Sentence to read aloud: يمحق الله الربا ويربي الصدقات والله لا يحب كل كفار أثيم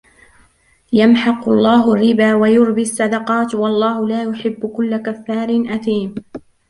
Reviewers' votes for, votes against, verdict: 2, 0, accepted